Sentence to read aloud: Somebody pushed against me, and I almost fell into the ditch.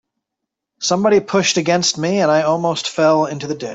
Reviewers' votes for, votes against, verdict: 1, 2, rejected